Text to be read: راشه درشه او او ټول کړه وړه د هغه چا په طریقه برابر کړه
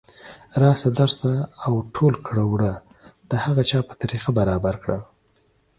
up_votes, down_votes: 2, 0